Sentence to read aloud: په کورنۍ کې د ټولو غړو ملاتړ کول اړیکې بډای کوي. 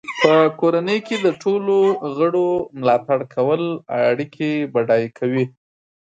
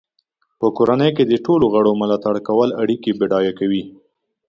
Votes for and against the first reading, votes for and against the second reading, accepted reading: 0, 2, 2, 0, second